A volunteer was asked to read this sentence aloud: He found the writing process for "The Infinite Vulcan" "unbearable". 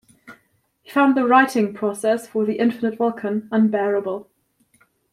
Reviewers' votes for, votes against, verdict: 2, 0, accepted